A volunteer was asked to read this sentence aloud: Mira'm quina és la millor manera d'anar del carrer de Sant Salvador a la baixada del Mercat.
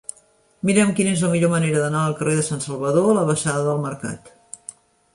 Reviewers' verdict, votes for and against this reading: accepted, 2, 0